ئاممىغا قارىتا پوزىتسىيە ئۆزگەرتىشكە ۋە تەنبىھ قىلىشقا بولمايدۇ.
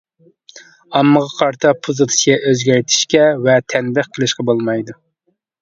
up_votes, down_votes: 2, 0